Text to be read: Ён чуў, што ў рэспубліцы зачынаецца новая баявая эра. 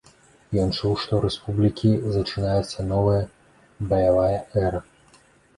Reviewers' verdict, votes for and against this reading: rejected, 0, 2